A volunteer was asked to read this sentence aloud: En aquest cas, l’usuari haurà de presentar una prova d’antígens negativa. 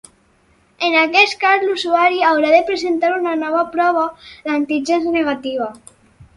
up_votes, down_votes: 2, 4